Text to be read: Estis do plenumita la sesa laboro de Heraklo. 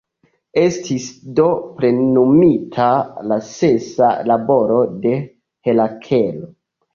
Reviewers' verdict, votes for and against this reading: rejected, 0, 2